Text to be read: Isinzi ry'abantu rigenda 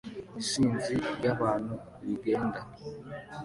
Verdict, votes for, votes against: accepted, 2, 0